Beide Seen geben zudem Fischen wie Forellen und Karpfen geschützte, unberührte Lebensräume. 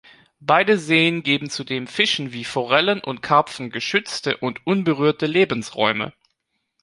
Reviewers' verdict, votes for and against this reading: rejected, 0, 3